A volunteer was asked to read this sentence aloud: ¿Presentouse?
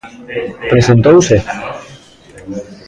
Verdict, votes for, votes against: rejected, 0, 2